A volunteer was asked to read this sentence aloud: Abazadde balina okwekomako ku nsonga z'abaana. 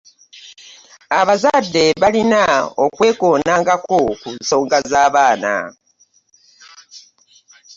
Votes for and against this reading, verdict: 0, 2, rejected